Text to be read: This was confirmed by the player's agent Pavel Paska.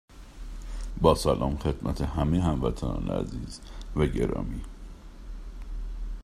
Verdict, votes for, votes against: rejected, 0, 2